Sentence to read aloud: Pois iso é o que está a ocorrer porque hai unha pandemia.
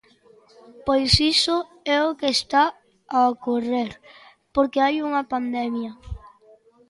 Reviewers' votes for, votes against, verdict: 2, 0, accepted